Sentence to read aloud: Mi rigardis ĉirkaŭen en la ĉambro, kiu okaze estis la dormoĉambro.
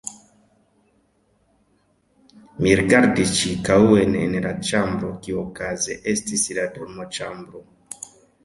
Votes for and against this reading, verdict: 0, 2, rejected